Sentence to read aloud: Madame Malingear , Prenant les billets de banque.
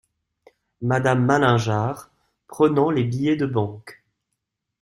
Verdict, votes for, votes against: accepted, 2, 0